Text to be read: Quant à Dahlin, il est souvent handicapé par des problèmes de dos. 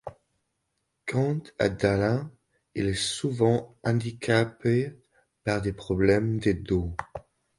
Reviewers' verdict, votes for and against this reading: accepted, 3, 1